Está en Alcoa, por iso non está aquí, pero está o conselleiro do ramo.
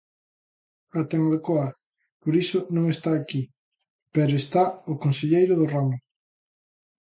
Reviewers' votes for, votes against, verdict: 0, 2, rejected